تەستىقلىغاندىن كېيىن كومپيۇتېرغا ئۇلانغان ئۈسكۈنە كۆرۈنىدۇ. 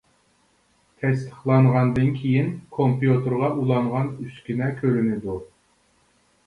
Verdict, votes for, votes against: rejected, 1, 2